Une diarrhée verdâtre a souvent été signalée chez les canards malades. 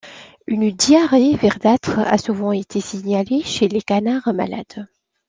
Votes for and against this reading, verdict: 2, 1, accepted